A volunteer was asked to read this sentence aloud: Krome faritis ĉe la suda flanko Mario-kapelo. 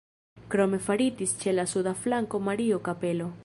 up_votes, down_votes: 1, 2